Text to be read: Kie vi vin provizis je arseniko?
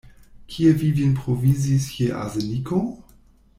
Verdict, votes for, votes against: accepted, 2, 0